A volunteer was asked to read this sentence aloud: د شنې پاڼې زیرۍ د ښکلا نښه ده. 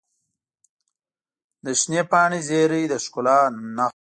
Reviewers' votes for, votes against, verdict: 1, 2, rejected